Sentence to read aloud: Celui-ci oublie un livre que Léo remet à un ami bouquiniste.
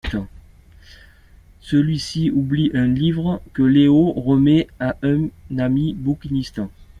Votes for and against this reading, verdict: 2, 1, accepted